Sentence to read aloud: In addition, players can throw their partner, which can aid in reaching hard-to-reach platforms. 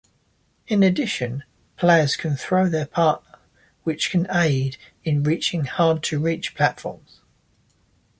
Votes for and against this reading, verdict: 1, 2, rejected